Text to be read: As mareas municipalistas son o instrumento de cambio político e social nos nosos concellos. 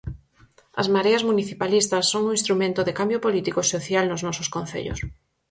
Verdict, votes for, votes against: accepted, 4, 0